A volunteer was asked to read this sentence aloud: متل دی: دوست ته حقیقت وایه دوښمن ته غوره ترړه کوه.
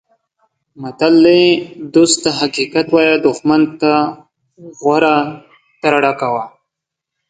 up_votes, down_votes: 2, 0